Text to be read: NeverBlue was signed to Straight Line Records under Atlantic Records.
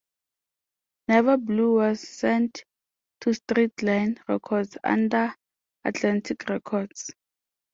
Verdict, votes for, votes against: rejected, 0, 2